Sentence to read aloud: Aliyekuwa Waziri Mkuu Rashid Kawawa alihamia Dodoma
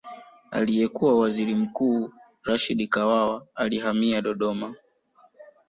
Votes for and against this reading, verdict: 2, 0, accepted